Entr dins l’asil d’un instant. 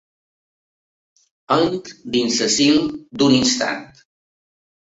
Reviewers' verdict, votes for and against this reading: rejected, 1, 3